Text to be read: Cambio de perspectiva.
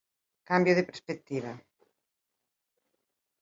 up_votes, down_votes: 1, 2